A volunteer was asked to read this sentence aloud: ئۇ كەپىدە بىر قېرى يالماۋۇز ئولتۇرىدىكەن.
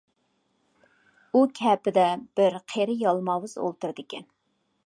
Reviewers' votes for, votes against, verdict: 2, 0, accepted